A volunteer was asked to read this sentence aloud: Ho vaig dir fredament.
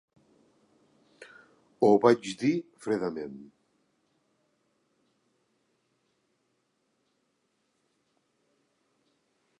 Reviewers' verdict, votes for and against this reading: rejected, 1, 2